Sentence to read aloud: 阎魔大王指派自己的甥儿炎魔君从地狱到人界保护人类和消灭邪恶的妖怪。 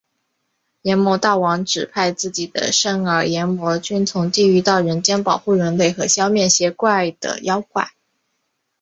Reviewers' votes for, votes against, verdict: 5, 0, accepted